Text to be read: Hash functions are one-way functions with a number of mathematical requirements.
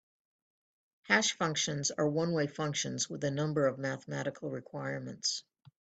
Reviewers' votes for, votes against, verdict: 4, 0, accepted